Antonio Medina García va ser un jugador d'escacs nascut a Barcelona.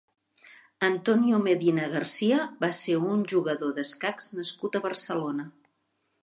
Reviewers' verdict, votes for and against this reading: accepted, 3, 0